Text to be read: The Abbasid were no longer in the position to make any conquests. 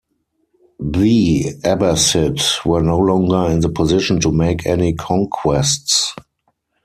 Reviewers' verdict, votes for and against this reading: rejected, 2, 4